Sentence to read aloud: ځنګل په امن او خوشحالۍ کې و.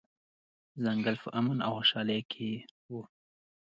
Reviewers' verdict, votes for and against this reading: accepted, 2, 0